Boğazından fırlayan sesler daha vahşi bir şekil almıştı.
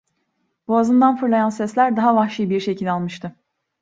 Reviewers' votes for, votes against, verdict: 2, 0, accepted